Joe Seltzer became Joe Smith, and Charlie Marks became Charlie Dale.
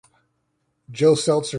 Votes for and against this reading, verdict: 0, 2, rejected